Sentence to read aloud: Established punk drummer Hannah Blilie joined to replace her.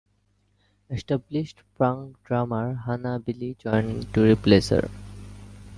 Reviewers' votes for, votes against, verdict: 1, 2, rejected